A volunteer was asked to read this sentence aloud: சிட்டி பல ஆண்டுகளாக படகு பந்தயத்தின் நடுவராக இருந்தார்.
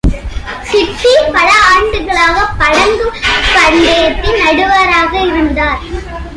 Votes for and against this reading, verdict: 1, 2, rejected